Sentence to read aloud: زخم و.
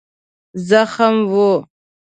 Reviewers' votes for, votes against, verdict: 2, 0, accepted